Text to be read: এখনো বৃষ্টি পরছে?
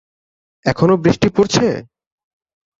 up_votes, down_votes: 2, 0